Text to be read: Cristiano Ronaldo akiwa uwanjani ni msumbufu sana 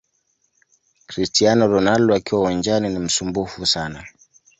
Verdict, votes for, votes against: accepted, 2, 1